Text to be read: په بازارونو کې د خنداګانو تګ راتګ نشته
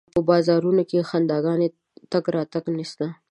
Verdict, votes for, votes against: rejected, 1, 2